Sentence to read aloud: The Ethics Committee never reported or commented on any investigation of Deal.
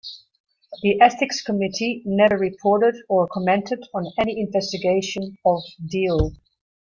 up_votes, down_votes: 2, 0